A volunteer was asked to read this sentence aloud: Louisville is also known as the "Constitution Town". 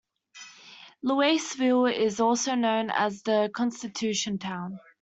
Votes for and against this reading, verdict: 2, 1, accepted